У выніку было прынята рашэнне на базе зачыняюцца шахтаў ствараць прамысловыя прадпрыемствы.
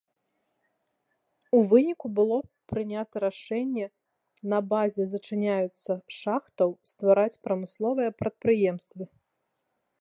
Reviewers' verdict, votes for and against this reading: accepted, 2, 0